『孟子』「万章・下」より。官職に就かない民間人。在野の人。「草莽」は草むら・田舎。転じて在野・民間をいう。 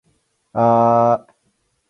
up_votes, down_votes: 0, 4